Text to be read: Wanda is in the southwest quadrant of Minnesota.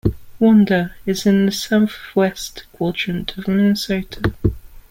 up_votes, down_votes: 1, 2